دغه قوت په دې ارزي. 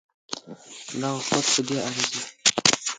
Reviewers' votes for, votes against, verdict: 0, 2, rejected